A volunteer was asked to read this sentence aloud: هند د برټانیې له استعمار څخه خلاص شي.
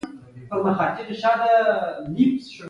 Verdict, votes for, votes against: rejected, 1, 2